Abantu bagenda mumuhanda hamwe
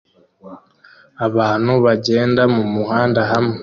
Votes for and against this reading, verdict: 2, 1, accepted